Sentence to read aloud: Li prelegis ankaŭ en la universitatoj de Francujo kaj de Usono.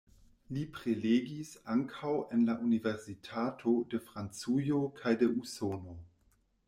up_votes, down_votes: 1, 2